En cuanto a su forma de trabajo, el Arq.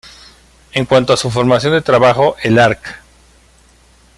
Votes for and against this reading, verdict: 1, 2, rejected